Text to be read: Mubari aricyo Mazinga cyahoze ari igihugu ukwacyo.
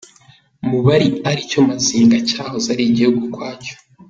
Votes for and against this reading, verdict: 1, 2, rejected